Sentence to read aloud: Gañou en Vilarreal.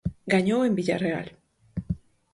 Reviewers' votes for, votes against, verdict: 0, 4, rejected